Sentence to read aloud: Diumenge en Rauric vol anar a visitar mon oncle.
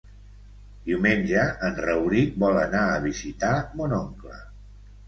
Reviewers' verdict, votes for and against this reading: accepted, 3, 0